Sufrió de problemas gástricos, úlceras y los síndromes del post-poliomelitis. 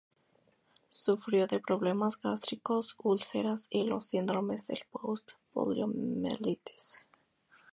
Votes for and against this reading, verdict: 0, 2, rejected